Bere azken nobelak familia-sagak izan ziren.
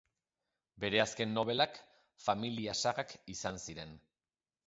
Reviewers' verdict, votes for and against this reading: accepted, 4, 1